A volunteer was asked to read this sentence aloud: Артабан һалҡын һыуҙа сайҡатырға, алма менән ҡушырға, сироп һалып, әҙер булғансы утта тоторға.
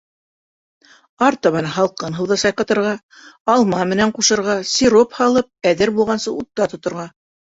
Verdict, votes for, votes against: accepted, 2, 0